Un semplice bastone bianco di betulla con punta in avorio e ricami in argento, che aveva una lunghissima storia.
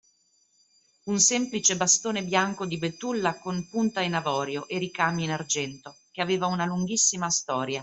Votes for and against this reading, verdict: 2, 0, accepted